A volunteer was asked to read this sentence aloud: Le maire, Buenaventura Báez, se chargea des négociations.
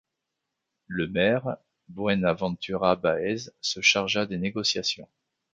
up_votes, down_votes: 2, 1